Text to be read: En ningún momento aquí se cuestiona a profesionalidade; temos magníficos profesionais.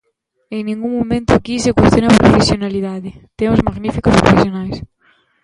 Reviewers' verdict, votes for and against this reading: rejected, 2, 3